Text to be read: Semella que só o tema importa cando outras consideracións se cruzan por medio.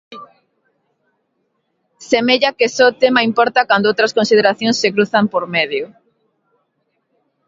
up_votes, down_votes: 3, 2